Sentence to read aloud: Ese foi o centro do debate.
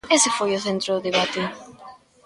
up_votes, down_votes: 2, 0